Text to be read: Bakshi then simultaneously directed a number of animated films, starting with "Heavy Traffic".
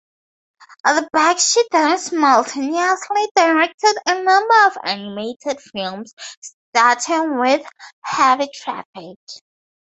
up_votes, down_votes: 0, 2